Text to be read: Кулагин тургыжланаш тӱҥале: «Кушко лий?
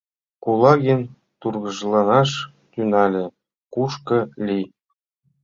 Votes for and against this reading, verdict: 2, 0, accepted